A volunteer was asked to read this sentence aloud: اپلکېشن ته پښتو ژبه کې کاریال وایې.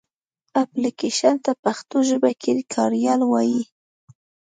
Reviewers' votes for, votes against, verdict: 2, 0, accepted